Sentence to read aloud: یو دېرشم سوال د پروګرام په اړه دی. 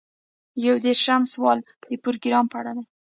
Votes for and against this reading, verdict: 1, 2, rejected